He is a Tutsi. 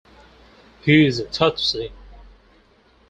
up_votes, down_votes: 4, 0